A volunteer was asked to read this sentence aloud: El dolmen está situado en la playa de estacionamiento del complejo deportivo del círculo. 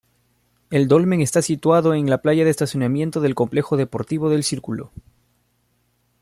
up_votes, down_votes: 2, 0